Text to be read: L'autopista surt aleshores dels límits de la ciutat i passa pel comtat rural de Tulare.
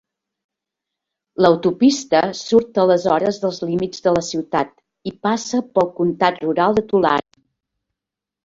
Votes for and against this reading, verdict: 3, 0, accepted